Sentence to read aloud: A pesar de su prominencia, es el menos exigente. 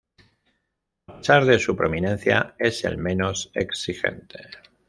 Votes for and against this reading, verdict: 1, 2, rejected